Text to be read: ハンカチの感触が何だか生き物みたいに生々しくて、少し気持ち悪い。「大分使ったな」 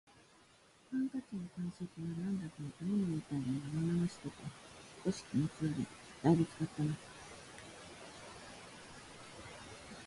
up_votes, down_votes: 0, 2